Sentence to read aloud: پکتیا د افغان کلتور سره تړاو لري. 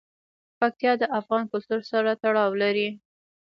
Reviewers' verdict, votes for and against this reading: rejected, 1, 2